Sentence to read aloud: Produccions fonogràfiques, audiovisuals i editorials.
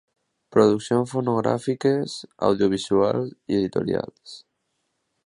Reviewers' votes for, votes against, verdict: 2, 0, accepted